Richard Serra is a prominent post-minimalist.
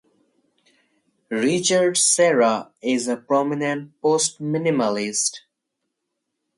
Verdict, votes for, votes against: rejected, 2, 4